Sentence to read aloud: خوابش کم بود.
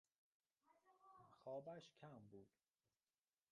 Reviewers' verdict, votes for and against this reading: rejected, 0, 2